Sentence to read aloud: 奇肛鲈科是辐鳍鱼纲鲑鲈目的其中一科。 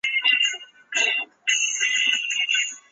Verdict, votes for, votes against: rejected, 0, 4